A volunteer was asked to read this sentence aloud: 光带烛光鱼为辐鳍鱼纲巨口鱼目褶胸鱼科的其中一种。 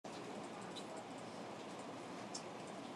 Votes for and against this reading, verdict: 0, 2, rejected